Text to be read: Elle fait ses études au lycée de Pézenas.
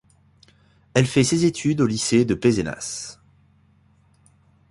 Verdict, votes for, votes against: accepted, 2, 0